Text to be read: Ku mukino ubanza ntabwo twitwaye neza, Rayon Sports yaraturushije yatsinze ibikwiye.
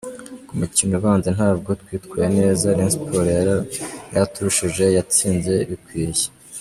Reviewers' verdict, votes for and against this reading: accepted, 2, 1